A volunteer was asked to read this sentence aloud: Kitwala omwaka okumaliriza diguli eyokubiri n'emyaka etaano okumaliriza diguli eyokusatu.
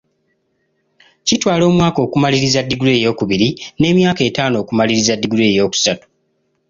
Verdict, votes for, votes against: accepted, 2, 0